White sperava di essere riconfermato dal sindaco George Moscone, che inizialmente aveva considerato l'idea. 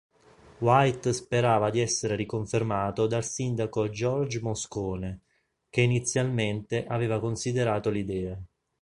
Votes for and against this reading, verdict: 3, 0, accepted